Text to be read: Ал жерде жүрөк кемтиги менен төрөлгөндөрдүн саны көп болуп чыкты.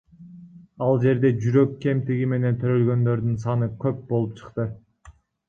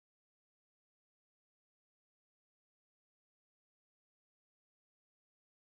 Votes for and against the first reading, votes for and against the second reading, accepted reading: 2, 1, 0, 2, first